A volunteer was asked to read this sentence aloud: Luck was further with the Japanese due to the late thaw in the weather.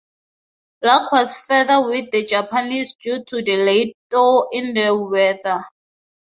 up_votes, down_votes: 2, 0